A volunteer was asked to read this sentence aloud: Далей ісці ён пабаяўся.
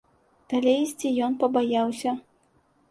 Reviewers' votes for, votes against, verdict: 2, 0, accepted